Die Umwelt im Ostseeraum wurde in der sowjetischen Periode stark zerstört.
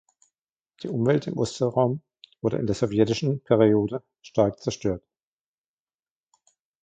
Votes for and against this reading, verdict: 2, 1, accepted